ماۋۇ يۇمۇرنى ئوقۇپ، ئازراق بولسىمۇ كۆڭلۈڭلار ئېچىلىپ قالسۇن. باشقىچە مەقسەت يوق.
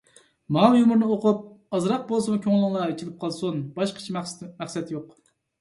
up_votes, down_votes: 1, 2